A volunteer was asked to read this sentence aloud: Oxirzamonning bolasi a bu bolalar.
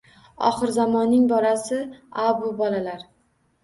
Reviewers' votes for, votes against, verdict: 1, 2, rejected